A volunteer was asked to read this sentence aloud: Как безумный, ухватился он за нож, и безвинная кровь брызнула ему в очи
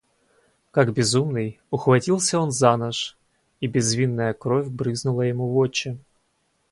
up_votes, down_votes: 2, 4